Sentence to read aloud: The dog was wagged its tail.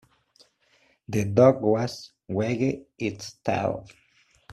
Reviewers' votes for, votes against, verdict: 2, 1, accepted